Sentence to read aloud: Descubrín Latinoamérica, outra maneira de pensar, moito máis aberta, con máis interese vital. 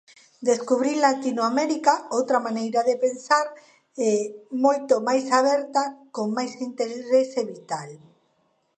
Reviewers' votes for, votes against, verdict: 0, 2, rejected